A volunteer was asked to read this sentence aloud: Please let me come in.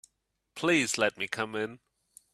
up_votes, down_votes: 2, 0